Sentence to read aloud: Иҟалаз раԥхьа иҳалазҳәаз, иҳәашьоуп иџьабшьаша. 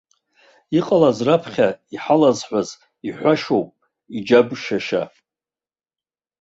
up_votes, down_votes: 2, 1